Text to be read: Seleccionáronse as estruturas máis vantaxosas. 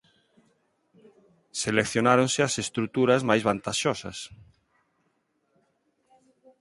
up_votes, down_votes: 2, 2